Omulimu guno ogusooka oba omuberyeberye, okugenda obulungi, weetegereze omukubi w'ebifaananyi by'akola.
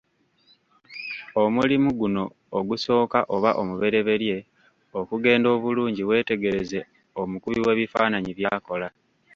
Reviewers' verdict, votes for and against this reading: rejected, 1, 2